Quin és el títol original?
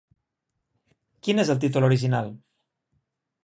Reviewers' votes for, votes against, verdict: 2, 0, accepted